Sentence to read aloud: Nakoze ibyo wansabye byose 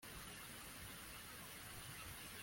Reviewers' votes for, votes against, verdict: 0, 2, rejected